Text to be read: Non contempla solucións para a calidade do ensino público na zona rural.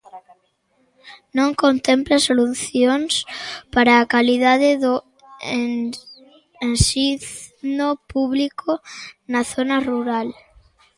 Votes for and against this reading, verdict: 0, 2, rejected